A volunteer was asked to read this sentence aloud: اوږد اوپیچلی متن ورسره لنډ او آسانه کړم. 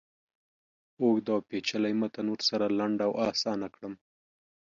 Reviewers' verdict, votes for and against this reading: accepted, 2, 0